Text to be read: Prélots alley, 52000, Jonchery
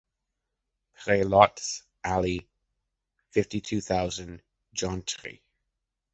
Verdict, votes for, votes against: rejected, 0, 2